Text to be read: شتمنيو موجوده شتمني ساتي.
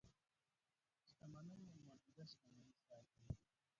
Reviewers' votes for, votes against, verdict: 0, 2, rejected